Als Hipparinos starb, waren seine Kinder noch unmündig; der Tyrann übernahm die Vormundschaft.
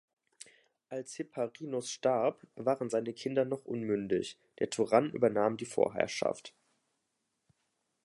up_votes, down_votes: 0, 2